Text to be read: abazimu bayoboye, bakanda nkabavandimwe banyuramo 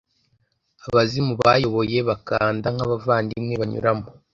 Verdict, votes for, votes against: accepted, 2, 0